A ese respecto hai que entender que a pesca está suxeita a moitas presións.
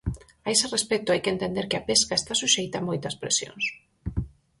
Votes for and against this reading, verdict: 4, 0, accepted